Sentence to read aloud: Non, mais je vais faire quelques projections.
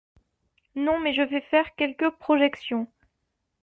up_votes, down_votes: 2, 0